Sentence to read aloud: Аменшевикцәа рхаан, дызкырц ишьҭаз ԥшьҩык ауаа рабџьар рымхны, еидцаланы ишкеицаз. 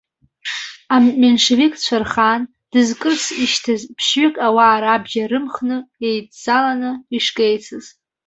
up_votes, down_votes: 0, 2